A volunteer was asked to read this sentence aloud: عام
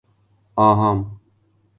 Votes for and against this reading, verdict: 1, 2, rejected